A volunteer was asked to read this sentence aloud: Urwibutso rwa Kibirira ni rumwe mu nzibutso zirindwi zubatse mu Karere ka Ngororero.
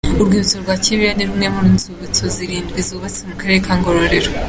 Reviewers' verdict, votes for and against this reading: accepted, 2, 0